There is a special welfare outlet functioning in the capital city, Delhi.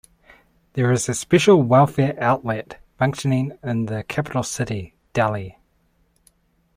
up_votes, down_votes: 2, 0